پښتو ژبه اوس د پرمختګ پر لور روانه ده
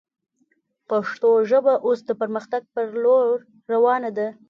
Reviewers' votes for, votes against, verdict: 2, 0, accepted